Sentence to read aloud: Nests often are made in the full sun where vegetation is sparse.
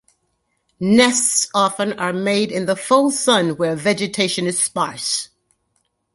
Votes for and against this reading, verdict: 2, 0, accepted